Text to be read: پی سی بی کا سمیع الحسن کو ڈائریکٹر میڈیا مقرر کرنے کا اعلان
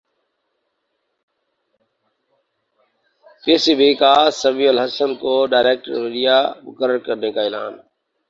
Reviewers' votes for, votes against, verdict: 0, 2, rejected